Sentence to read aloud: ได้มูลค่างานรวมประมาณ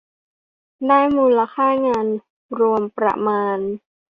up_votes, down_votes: 2, 0